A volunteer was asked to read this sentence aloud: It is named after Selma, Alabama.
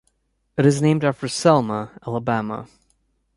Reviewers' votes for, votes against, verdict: 2, 0, accepted